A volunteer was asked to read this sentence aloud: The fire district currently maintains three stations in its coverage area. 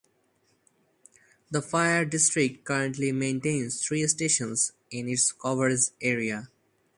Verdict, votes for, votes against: accepted, 2, 0